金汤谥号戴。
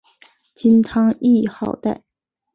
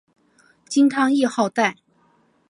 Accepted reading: first